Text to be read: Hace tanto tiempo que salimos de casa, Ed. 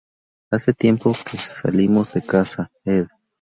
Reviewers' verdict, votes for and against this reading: rejected, 0, 2